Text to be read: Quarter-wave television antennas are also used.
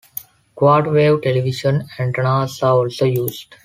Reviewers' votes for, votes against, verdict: 2, 0, accepted